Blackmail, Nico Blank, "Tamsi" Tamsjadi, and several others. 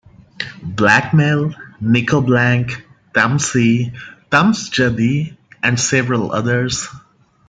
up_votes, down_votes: 2, 0